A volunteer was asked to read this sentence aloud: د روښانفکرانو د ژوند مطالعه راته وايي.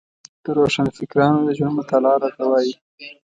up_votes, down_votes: 2, 0